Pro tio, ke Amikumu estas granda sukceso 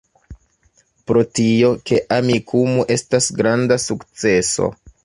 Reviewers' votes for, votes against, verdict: 1, 2, rejected